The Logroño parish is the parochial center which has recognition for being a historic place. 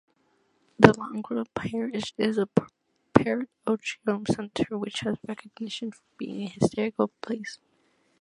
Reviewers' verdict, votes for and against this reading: rejected, 0, 2